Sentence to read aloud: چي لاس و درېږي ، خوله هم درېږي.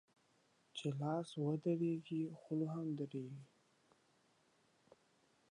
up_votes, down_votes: 1, 2